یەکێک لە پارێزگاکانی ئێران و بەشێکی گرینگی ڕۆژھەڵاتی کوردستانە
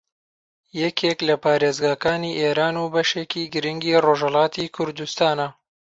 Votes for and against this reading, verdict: 1, 2, rejected